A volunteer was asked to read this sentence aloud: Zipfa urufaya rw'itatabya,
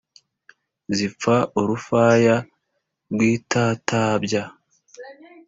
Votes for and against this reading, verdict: 2, 0, accepted